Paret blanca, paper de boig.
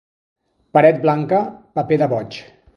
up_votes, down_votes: 2, 0